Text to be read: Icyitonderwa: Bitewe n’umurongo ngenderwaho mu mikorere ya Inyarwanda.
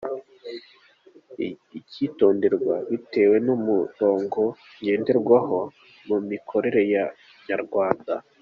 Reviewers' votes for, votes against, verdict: 2, 0, accepted